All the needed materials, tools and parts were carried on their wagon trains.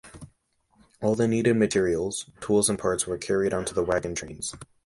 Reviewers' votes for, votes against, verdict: 0, 2, rejected